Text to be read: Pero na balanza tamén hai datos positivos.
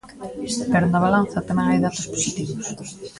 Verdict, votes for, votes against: rejected, 1, 2